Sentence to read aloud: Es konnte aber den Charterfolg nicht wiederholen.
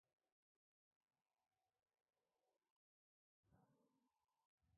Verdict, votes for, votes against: rejected, 0, 2